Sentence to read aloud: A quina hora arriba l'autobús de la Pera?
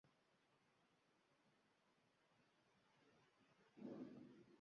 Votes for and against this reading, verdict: 0, 2, rejected